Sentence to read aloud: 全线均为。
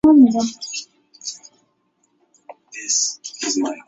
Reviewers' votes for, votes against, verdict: 1, 2, rejected